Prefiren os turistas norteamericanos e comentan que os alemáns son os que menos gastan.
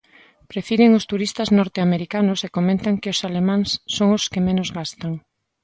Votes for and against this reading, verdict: 2, 0, accepted